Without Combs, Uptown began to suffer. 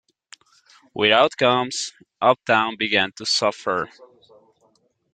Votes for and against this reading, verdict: 2, 0, accepted